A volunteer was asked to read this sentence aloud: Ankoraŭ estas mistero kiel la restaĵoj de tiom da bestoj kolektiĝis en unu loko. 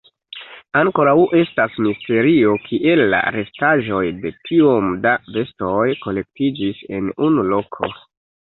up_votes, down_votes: 1, 2